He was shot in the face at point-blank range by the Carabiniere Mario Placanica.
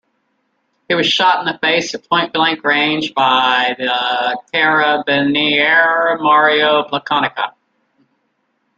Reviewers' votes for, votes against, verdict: 1, 2, rejected